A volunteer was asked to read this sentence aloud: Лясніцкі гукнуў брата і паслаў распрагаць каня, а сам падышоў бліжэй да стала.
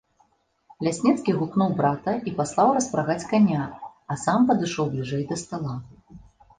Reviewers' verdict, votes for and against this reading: accepted, 3, 0